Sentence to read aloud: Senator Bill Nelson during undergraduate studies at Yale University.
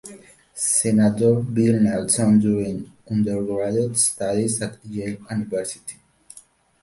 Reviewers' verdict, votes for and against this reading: rejected, 0, 2